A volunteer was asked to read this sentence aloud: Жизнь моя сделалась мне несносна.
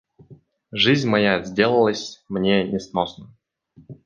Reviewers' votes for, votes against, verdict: 2, 1, accepted